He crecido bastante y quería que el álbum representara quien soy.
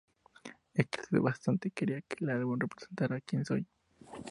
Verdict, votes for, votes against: rejected, 0, 2